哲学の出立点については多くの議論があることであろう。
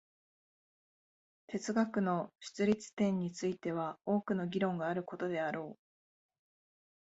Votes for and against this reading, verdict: 2, 0, accepted